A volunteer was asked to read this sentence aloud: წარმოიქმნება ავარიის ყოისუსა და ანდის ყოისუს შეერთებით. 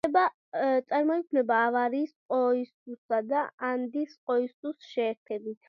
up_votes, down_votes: 0, 2